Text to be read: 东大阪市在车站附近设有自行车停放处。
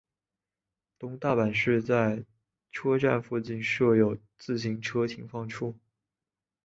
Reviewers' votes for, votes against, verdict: 1, 2, rejected